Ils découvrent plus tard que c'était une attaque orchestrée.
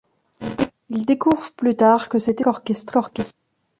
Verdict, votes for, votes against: rejected, 0, 2